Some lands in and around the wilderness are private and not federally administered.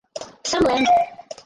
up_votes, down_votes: 2, 4